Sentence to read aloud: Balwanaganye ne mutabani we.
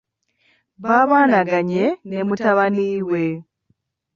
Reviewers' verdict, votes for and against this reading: rejected, 0, 2